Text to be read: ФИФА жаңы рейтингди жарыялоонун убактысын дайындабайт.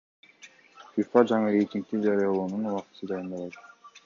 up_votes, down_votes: 2, 0